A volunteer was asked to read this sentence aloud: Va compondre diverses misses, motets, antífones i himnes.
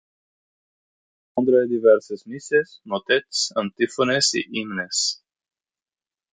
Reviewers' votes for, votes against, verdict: 0, 18, rejected